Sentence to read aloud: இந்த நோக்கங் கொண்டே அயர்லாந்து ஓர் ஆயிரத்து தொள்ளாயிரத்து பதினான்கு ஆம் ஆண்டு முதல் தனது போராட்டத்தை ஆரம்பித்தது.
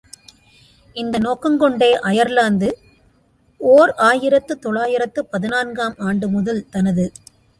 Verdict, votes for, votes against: rejected, 0, 2